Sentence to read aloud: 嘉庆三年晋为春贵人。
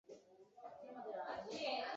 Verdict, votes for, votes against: rejected, 0, 5